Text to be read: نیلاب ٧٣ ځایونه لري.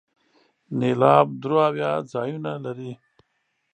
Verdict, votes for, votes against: rejected, 0, 2